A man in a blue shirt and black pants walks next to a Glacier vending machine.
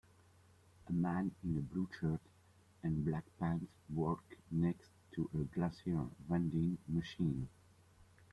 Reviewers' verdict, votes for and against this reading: rejected, 0, 2